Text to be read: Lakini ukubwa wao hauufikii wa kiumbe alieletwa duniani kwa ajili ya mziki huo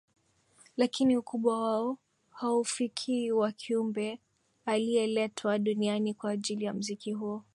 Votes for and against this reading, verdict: 12, 1, accepted